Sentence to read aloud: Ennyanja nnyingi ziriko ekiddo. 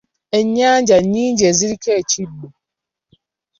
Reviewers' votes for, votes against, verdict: 2, 1, accepted